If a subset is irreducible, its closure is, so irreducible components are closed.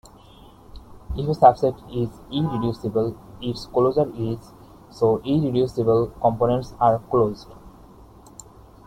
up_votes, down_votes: 1, 2